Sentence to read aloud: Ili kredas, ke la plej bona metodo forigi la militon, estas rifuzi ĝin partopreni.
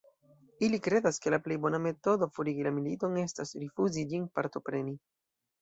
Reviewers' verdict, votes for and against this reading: accepted, 2, 0